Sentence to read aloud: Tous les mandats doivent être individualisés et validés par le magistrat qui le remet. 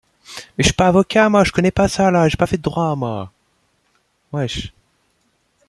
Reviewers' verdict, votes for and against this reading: rejected, 0, 2